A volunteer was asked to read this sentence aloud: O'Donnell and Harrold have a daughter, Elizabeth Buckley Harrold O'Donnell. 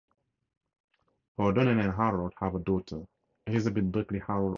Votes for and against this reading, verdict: 0, 2, rejected